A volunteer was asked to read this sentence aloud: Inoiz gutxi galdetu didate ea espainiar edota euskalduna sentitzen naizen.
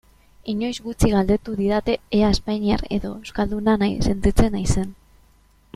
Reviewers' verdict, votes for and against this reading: rejected, 0, 2